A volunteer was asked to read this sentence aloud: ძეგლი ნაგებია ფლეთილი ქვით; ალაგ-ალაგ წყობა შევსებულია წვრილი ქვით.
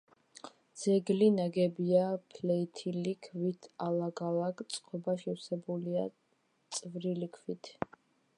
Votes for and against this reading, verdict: 1, 2, rejected